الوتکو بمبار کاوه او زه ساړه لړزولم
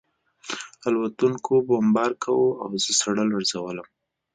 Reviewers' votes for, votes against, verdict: 2, 0, accepted